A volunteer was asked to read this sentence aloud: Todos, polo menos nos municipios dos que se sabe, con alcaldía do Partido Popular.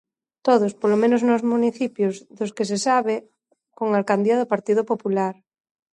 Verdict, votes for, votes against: accepted, 2, 0